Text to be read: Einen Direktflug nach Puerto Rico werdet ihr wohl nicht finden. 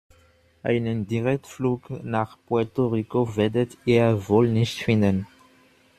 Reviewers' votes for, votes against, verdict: 2, 0, accepted